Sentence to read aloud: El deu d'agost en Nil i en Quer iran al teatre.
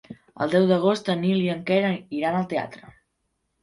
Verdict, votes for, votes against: rejected, 1, 3